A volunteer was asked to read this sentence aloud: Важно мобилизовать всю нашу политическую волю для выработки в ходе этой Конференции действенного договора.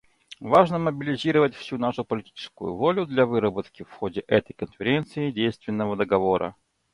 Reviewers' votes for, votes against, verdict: 2, 0, accepted